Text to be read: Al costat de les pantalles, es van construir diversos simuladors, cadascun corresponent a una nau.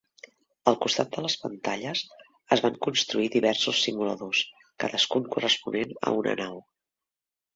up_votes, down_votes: 3, 0